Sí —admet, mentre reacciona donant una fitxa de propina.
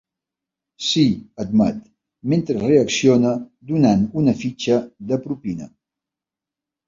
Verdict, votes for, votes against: accepted, 2, 0